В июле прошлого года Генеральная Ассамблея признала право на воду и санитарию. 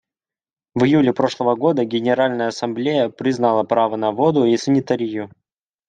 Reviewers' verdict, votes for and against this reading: accepted, 2, 0